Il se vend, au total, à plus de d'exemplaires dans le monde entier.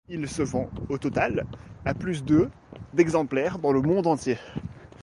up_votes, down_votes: 2, 0